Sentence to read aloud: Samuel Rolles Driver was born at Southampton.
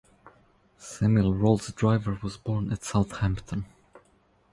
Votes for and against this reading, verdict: 0, 4, rejected